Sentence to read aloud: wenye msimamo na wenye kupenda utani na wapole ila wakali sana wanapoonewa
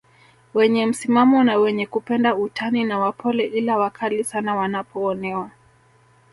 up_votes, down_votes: 1, 2